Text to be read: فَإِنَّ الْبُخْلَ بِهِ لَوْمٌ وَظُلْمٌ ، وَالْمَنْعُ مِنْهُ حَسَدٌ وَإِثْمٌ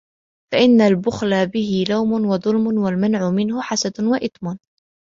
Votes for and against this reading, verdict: 2, 0, accepted